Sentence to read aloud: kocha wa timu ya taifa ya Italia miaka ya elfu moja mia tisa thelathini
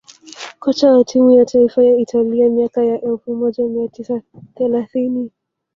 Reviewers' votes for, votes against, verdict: 1, 2, rejected